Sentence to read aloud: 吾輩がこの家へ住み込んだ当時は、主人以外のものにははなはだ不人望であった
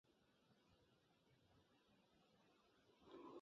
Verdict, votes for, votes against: rejected, 1, 2